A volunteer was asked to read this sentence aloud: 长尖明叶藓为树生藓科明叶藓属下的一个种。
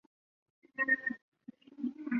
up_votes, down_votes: 0, 3